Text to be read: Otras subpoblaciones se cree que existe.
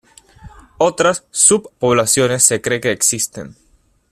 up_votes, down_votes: 0, 2